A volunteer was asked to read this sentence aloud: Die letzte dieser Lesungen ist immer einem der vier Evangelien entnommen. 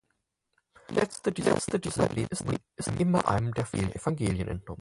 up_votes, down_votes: 0, 4